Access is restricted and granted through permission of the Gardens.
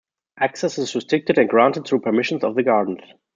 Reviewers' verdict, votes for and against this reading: accepted, 2, 1